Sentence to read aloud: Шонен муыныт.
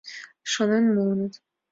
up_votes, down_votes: 2, 0